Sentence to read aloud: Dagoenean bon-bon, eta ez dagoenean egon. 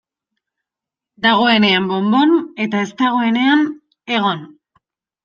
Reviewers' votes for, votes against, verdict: 2, 0, accepted